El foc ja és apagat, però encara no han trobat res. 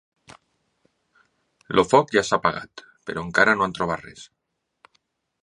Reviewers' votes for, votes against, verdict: 1, 2, rejected